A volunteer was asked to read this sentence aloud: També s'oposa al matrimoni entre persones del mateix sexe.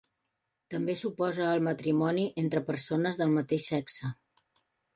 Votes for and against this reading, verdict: 3, 0, accepted